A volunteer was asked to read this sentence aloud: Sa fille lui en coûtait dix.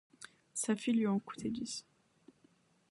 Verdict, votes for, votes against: accepted, 2, 0